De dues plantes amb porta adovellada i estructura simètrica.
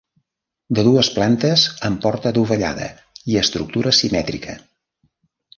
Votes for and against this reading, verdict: 2, 0, accepted